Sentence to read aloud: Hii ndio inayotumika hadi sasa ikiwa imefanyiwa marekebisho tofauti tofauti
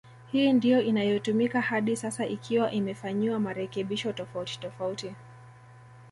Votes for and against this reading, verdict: 2, 0, accepted